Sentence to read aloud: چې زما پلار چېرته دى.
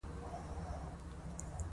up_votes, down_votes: 2, 0